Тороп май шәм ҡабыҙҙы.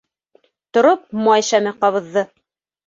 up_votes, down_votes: 1, 2